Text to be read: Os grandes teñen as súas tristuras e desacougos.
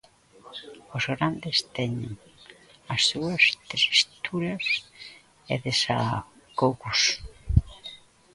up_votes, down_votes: 0, 2